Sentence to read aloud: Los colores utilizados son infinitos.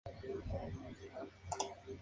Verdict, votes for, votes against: rejected, 0, 2